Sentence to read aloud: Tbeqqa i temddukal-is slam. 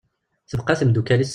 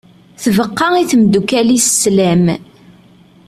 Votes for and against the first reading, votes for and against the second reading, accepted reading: 0, 2, 2, 0, second